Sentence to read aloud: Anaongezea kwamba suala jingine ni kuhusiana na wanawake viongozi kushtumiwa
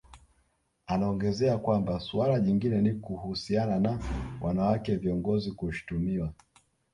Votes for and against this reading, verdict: 0, 2, rejected